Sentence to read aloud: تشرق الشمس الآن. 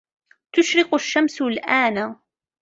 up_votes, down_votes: 0, 2